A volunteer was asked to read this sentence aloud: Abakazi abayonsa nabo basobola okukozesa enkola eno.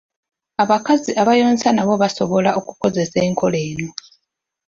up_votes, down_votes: 2, 0